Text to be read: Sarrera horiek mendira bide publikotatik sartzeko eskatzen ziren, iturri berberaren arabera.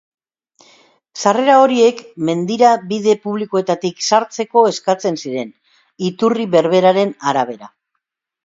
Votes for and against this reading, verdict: 0, 2, rejected